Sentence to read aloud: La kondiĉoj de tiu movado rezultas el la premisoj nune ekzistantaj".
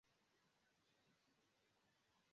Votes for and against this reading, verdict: 0, 2, rejected